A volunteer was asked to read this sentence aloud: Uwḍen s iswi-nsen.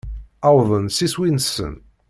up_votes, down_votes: 1, 2